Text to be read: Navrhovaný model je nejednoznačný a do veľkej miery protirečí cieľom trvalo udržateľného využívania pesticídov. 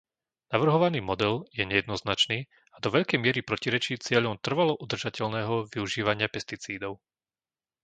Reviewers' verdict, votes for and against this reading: rejected, 0, 2